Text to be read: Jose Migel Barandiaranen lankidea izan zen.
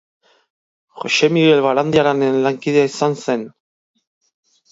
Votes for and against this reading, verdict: 2, 0, accepted